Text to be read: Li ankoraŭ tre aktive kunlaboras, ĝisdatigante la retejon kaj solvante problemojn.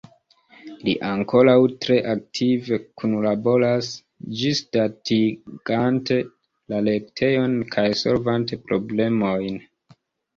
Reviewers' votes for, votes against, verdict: 2, 1, accepted